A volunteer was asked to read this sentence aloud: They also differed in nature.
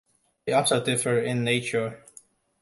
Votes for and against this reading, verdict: 1, 2, rejected